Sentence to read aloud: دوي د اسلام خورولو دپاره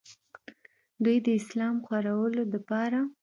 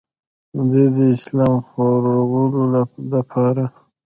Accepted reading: first